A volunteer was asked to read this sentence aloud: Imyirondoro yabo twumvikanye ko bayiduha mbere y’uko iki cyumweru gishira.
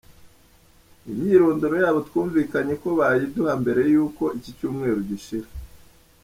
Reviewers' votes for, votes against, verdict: 2, 0, accepted